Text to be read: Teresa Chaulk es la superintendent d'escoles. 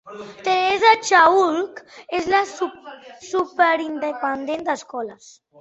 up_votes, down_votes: 0, 2